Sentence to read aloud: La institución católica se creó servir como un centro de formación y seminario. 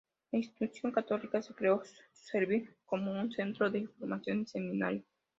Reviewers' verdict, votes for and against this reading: rejected, 0, 2